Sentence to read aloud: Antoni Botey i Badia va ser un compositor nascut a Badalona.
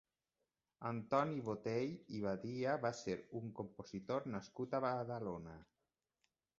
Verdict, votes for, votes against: accepted, 2, 0